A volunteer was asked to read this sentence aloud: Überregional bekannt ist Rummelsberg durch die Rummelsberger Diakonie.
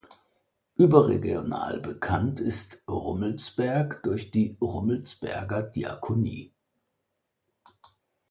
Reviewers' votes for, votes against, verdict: 2, 0, accepted